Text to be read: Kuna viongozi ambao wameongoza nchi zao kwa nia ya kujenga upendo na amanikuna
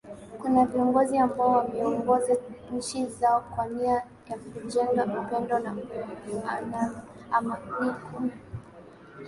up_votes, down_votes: 3, 1